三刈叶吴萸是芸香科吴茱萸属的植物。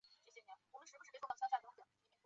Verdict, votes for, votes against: rejected, 0, 2